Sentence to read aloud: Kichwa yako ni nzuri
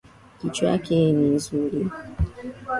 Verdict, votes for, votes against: rejected, 0, 2